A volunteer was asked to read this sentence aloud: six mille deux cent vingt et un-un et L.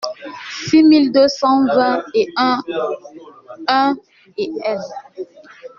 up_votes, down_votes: 0, 2